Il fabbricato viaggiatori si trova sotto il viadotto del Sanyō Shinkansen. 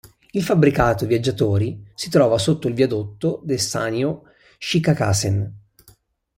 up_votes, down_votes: 0, 2